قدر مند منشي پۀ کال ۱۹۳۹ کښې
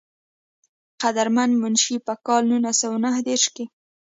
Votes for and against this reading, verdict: 0, 2, rejected